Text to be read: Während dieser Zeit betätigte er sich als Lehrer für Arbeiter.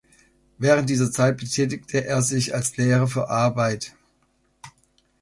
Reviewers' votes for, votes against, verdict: 1, 2, rejected